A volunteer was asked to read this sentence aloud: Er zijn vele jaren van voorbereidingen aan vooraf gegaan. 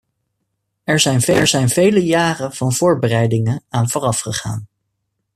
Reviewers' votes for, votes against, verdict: 0, 2, rejected